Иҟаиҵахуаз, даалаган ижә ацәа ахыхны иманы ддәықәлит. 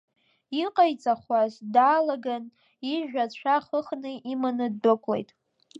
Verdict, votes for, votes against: accepted, 2, 0